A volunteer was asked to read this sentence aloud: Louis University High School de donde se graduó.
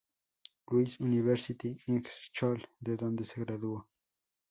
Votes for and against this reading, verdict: 0, 2, rejected